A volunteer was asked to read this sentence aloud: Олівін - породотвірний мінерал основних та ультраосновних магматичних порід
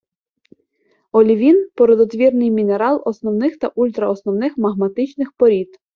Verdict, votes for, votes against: accepted, 2, 0